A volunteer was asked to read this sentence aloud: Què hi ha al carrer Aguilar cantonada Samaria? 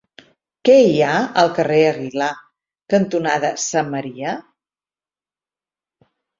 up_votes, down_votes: 4, 0